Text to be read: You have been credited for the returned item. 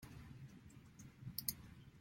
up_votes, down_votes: 0, 2